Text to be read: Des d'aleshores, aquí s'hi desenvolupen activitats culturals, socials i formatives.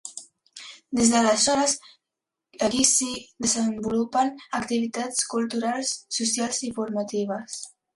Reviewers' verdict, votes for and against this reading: accepted, 2, 0